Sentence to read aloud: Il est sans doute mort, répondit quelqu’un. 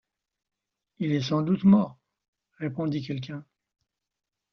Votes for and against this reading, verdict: 2, 0, accepted